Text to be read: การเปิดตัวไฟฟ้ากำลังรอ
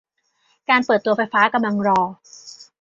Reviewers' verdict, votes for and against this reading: accepted, 2, 1